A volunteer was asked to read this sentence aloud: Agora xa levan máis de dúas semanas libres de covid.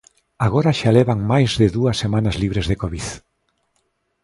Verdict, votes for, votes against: accepted, 2, 1